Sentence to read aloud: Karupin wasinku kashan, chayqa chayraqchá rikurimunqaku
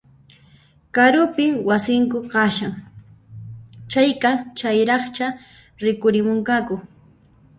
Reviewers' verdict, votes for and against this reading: rejected, 0, 2